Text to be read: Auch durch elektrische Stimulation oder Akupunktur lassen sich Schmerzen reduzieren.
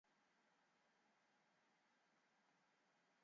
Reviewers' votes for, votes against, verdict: 0, 2, rejected